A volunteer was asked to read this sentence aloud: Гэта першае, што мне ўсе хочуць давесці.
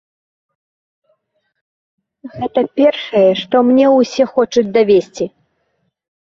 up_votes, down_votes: 2, 0